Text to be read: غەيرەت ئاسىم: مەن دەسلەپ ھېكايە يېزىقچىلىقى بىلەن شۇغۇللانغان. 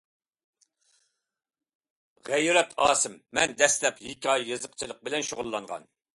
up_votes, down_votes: 2, 0